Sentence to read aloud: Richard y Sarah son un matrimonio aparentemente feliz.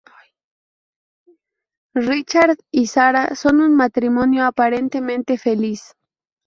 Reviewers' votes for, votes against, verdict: 0, 2, rejected